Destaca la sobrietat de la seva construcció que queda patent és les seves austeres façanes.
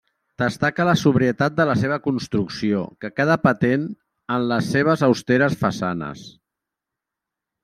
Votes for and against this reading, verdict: 0, 2, rejected